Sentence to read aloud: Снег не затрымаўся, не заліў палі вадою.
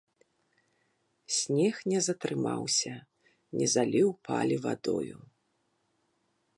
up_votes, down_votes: 0, 2